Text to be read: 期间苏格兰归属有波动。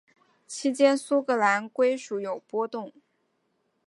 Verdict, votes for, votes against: accepted, 2, 1